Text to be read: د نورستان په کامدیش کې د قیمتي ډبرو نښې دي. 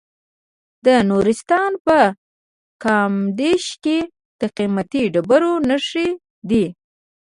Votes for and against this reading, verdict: 2, 0, accepted